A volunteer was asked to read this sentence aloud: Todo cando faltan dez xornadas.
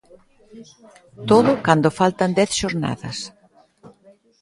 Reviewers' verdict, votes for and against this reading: accepted, 2, 1